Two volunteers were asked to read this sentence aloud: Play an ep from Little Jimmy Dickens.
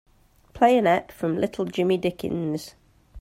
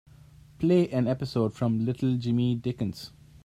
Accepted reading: first